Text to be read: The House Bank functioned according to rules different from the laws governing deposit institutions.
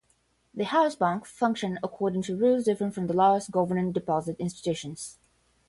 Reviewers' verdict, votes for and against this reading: accepted, 10, 0